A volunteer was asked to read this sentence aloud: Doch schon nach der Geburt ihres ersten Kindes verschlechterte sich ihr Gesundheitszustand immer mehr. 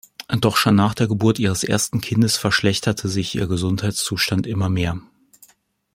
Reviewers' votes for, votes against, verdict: 2, 0, accepted